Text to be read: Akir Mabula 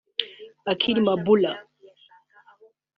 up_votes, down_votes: 0, 2